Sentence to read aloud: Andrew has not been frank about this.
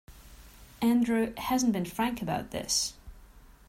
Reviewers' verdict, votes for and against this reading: rejected, 0, 2